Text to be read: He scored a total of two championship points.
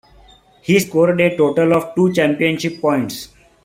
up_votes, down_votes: 1, 2